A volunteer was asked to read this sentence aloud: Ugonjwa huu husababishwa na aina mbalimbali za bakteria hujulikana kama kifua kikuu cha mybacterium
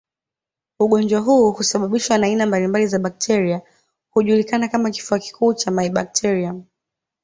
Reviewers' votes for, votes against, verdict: 2, 0, accepted